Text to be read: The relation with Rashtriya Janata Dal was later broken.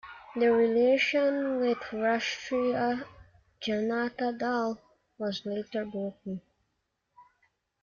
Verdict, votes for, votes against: accepted, 2, 1